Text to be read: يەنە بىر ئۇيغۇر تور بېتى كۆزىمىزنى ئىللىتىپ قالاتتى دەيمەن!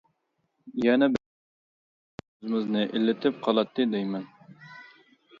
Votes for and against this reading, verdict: 0, 2, rejected